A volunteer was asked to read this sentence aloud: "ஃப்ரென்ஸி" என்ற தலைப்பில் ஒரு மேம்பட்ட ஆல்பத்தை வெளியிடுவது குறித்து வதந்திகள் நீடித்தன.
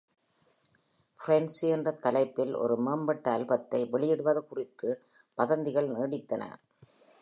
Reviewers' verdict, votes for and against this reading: accepted, 2, 0